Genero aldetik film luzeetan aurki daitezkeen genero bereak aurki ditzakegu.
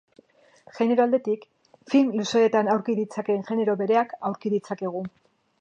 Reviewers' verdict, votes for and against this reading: rejected, 0, 2